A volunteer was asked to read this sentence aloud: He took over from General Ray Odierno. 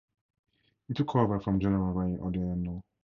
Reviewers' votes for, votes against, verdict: 2, 2, rejected